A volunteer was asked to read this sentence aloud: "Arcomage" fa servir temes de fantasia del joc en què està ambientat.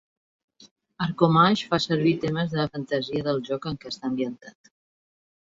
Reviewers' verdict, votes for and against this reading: accepted, 2, 0